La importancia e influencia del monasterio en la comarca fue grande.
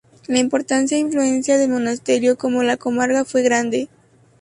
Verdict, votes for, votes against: rejected, 0, 2